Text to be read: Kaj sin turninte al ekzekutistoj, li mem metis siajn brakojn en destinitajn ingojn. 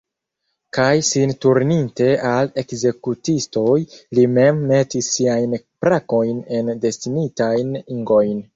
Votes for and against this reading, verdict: 2, 0, accepted